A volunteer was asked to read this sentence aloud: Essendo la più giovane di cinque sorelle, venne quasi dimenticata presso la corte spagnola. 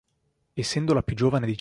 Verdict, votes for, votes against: rejected, 0, 2